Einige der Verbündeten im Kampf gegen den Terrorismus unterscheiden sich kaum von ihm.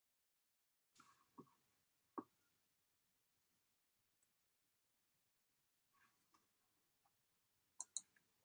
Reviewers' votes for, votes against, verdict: 0, 2, rejected